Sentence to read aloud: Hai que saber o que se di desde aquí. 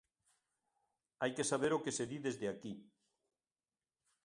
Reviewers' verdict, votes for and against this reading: accepted, 3, 0